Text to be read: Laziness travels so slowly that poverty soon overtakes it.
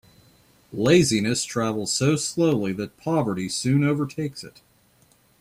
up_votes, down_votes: 2, 0